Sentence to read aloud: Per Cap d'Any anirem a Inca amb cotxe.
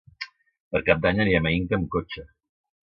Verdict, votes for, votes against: accepted, 2, 0